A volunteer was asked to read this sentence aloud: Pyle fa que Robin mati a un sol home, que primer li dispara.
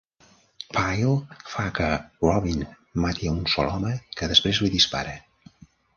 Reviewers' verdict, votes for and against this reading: rejected, 0, 2